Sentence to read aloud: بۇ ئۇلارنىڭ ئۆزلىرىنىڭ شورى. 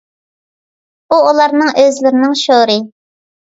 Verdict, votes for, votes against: accepted, 2, 0